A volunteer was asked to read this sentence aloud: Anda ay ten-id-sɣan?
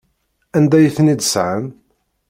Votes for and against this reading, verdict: 0, 2, rejected